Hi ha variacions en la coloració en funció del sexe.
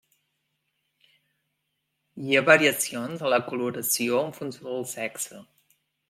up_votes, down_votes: 1, 2